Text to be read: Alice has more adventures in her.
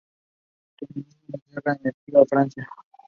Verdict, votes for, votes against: rejected, 0, 2